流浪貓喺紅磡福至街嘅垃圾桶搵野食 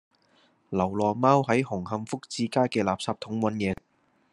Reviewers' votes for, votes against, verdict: 0, 2, rejected